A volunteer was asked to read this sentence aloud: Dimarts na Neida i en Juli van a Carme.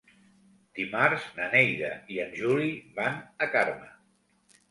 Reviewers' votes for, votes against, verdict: 3, 0, accepted